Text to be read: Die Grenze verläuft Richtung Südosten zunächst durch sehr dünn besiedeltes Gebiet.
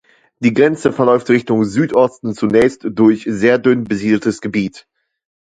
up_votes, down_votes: 2, 0